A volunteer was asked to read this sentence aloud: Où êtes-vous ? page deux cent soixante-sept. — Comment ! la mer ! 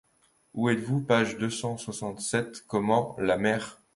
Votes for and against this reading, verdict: 2, 0, accepted